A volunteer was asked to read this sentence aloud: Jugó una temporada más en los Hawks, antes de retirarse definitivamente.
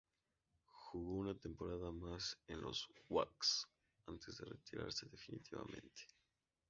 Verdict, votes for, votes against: rejected, 0, 2